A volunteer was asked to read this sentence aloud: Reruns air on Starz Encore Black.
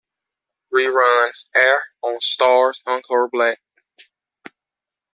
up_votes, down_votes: 2, 1